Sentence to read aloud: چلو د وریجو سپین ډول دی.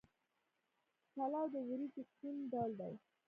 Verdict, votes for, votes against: accepted, 4, 2